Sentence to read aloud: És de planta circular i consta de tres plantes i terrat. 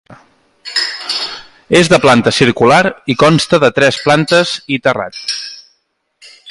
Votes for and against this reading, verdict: 0, 2, rejected